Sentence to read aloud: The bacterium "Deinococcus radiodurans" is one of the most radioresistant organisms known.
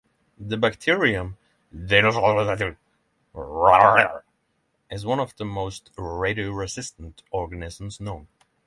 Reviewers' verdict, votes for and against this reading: rejected, 0, 6